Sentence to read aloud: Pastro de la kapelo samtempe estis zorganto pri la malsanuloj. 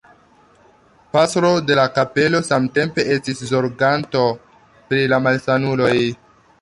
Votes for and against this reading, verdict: 2, 1, accepted